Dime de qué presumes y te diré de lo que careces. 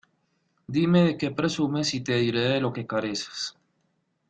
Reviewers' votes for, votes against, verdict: 0, 2, rejected